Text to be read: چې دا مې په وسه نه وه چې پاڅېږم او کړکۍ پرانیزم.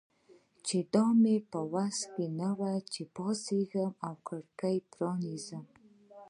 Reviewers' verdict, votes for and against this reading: rejected, 0, 2